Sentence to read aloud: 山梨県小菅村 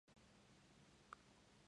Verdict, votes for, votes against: rejected, 0, 2